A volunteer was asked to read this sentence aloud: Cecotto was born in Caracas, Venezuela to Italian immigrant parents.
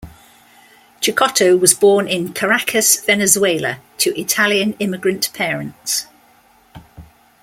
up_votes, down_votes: 2, 0